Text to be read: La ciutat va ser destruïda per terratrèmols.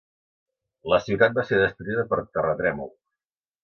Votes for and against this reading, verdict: 1, 2, rejected